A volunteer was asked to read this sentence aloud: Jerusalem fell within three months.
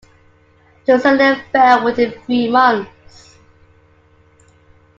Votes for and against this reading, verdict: 0, 2, rejected